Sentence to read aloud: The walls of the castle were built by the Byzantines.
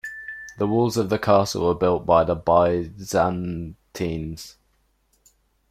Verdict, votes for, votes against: rejected, 1, 2